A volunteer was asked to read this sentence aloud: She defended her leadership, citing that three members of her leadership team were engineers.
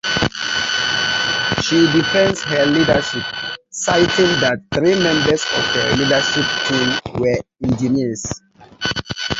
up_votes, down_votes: 0, 2